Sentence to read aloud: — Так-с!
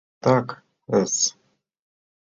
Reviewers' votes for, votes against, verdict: 2, 3, rejected